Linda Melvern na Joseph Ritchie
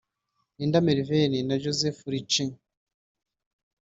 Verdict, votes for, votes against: rejected, 1, 2